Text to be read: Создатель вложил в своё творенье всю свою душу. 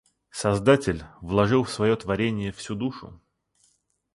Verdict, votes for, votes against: rejected, 0, 2